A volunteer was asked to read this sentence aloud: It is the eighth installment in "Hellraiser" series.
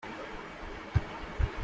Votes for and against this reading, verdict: 0, 2, rejected